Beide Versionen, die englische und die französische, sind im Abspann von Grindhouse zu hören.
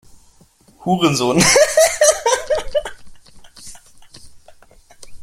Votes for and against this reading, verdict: 0, 2, rejected